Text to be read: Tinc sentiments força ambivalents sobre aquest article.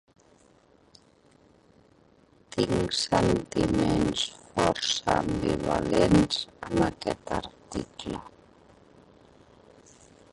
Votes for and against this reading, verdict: 0, 2, rejected